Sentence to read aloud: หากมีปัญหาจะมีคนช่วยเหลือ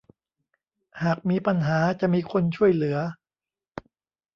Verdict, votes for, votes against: accepted, 2, 0